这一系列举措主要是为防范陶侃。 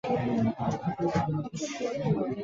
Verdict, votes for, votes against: rejected, 0, 2